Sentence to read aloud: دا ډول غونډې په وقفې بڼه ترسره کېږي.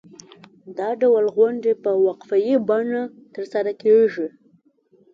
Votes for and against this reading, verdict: 2, 0, accepted